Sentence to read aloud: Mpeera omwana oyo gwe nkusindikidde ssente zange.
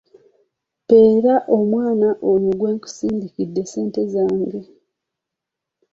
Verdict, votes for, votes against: accepted, 2, 0